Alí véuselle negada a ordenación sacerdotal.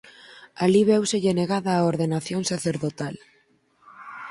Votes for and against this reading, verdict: 4, 0, accepted